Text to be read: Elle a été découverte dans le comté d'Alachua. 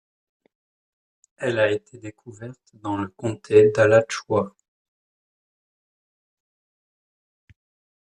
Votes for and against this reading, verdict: 2, 1, accepted